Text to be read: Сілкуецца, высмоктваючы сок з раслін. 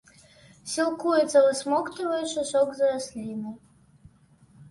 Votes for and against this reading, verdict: 1, 2, rejected